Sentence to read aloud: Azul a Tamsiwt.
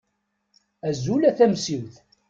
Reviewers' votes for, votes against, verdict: 2, 0, accepted